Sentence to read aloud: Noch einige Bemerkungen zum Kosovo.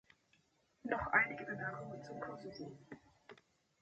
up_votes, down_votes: 1, 2